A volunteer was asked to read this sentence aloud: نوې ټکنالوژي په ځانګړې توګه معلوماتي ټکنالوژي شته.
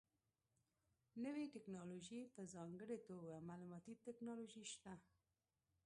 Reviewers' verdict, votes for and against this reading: rejected, 0, 2